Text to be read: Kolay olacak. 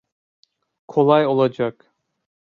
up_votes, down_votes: 2, 0